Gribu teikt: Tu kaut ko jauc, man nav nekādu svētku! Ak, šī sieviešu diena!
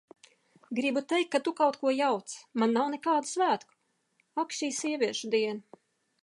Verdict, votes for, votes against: rejected, 0, 2